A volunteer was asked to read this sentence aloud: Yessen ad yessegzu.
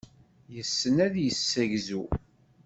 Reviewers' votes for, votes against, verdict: 2, 0, accepted